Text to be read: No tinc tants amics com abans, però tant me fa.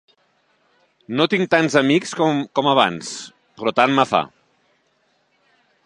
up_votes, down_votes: 1, 3